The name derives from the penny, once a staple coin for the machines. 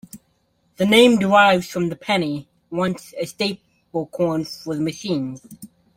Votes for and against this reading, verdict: 0, 2, rejected